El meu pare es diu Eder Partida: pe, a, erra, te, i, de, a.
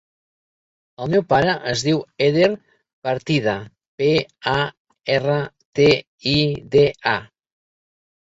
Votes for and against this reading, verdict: 3, 0, accepted